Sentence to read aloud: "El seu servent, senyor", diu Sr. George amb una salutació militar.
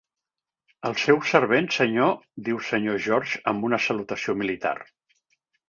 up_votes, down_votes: 1, 2